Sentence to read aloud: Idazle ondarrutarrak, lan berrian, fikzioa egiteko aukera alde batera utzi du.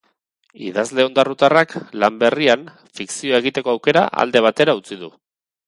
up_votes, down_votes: 2, 0